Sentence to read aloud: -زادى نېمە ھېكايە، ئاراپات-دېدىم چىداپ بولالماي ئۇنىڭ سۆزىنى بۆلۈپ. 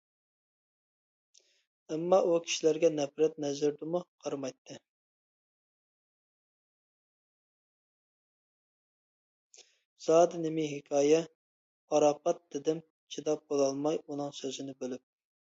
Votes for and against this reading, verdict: 0, 2, rejected